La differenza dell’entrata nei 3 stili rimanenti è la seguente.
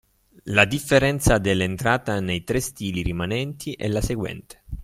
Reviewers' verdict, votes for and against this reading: rejected, 0, 2